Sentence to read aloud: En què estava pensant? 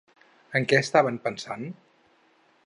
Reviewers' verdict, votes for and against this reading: rejected, 0, 4